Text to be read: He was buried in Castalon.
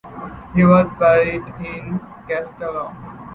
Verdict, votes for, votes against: accepted, 2, 0